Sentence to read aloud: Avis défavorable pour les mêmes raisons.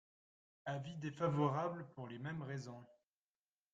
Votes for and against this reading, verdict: 2, 0, accepted